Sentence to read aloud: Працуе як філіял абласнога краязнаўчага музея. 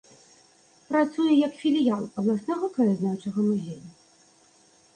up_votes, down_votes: 2, 0